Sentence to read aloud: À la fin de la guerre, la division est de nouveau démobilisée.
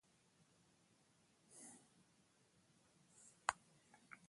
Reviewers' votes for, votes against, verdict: 0, 2, rejected